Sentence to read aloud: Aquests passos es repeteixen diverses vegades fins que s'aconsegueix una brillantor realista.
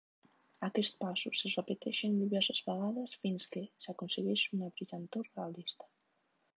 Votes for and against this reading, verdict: 0, 2, rejected